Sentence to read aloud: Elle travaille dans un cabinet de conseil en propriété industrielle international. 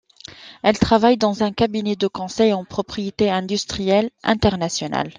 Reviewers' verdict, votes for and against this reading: accepted, 2, 0